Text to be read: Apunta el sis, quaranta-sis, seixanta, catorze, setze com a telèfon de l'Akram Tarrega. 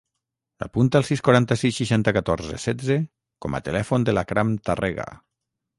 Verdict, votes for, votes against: rejected, 3, 3